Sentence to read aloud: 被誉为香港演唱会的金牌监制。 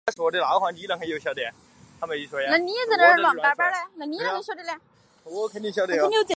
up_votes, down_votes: 0, 4